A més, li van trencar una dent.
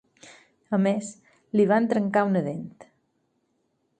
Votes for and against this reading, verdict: 4, 0, accepted